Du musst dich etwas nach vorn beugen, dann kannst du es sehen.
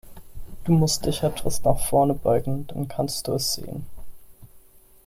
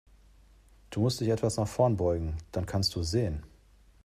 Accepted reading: second